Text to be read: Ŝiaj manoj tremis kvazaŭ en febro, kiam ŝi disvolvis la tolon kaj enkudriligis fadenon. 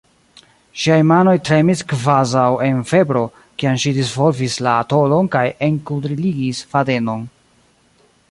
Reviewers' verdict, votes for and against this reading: rejected, 1, 2